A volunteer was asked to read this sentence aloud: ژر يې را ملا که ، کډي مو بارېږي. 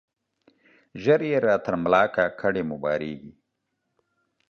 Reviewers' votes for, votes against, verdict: 0, 2, rejected